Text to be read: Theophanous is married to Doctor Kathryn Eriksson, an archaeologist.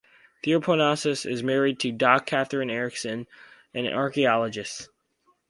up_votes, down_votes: 0, 4